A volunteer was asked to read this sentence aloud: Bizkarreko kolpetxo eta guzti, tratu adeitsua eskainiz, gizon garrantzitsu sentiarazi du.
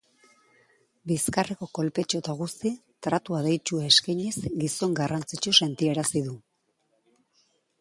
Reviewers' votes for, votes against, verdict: 2, 0, accepted